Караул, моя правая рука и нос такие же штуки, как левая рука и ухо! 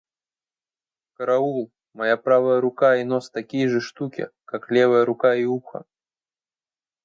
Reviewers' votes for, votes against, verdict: 2, 0, accepted